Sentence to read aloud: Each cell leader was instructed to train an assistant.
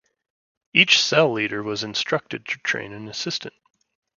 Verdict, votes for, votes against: accepted, 2, 0